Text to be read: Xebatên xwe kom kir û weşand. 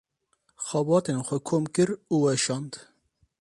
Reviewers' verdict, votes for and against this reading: accepted, 2, 0